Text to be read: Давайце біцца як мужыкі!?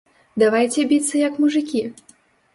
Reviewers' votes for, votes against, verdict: 2, 0, accepted